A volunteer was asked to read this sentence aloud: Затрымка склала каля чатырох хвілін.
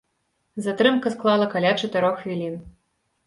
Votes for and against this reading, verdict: 2, 0, accepted